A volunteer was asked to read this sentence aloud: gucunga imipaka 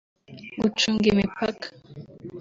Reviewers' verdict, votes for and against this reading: accepted, 2, 0